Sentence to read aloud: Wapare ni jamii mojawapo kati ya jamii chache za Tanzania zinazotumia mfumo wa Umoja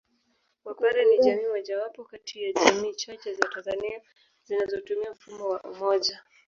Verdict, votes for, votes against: accepted, 2, 0